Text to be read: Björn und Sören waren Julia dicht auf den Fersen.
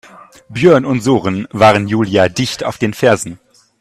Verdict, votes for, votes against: rejected, 0, 2